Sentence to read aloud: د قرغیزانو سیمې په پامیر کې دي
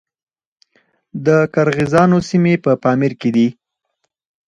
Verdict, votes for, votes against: accepted, 4, 0